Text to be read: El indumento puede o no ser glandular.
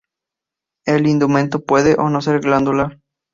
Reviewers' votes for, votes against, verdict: 4, 0, accepted